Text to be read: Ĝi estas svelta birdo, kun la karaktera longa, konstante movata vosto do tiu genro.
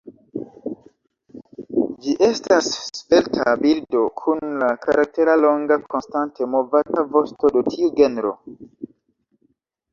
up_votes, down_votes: 1, 2